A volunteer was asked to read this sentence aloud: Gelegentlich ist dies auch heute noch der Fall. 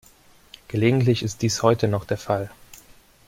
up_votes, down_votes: 0, 2